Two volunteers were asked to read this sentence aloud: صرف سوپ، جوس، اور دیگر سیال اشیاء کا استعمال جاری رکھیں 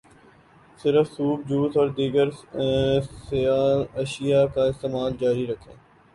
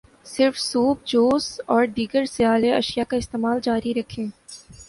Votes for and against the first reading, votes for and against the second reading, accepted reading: 1, 2, 3, 0, second